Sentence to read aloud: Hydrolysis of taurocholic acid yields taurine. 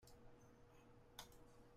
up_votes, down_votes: 0, 2